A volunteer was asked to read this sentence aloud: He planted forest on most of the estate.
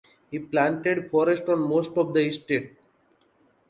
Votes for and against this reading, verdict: 2, 0, accepted